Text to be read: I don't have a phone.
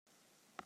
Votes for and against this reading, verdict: 0, 2, rejected